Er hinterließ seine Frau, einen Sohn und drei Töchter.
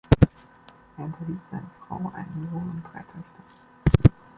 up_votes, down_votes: 1, 2